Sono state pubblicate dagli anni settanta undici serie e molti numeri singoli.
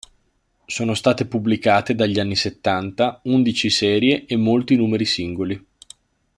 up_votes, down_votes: 2, 0